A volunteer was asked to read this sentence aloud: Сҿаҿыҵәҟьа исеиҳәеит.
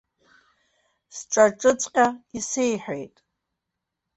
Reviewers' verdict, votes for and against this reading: rejected, 1, 2